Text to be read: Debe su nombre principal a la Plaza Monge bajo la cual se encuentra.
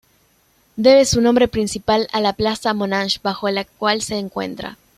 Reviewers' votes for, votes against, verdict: 0, 2, rejected